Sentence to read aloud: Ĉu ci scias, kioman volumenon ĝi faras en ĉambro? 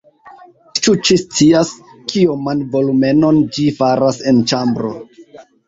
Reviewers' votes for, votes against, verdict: 1, 2, rejected